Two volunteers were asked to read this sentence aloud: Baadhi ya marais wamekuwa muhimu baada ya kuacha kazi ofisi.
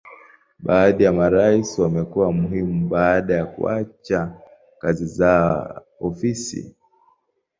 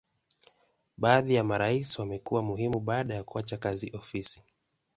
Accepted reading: second